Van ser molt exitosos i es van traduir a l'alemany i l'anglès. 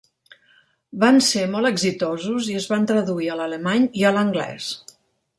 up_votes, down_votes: 1, 2